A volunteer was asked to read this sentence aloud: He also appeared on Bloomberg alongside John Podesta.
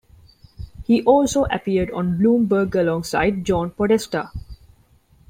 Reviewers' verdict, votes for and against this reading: accepted, 2, 0